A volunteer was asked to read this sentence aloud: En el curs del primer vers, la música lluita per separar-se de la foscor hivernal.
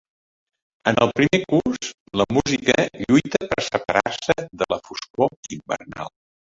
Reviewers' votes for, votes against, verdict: 1, 2, rejected